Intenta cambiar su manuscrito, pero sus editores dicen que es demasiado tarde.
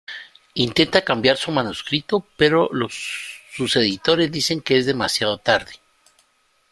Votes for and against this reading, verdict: 0, 2, rejected